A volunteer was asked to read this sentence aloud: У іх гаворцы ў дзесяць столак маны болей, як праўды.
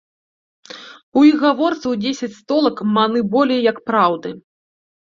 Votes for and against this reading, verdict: 2, 0, accepted